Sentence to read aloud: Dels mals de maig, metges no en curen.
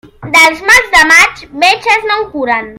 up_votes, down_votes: 2, 0